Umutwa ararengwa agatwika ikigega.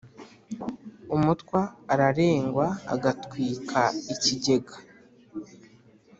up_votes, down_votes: 2, 0